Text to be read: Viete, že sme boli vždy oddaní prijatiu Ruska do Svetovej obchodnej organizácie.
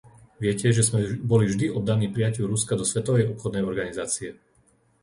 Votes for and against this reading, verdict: 0, 2, rejected